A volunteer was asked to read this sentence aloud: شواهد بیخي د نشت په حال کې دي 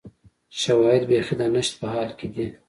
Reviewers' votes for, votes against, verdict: 2, 0, accepted